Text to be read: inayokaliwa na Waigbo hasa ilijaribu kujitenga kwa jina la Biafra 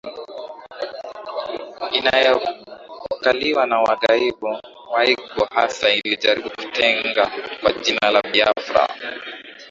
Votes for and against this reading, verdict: 0, 2, rejected